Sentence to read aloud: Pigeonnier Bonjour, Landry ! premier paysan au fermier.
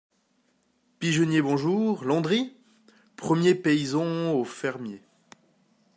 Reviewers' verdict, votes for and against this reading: accepted, 2, 1